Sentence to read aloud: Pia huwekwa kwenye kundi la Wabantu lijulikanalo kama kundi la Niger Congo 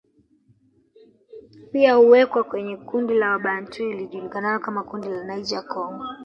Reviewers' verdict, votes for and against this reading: rejected, 1, 2